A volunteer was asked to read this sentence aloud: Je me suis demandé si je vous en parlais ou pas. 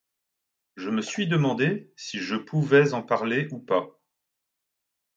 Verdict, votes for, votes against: rejected, 2, 3